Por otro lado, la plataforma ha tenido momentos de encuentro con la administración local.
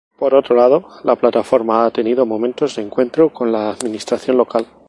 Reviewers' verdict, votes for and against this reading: accepted, 4, 0